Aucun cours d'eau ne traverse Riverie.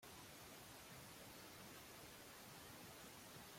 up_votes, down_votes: 0, 2